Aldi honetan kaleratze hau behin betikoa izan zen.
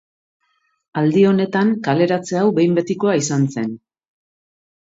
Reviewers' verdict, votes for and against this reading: accepted, 3, 0